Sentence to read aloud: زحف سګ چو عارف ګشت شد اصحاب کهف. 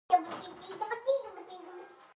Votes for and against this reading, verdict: 1, 2, rejected